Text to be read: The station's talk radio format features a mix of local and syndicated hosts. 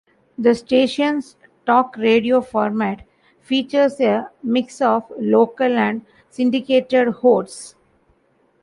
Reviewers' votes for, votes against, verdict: 2, 1, accepted